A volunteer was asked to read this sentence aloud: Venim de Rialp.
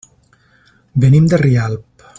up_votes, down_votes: 3, 0